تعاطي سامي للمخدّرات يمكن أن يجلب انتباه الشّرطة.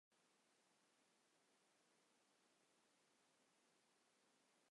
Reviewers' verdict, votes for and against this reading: rejected, 0, 3